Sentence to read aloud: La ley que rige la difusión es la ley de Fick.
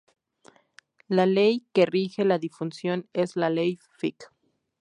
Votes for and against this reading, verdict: 0, 2, rejected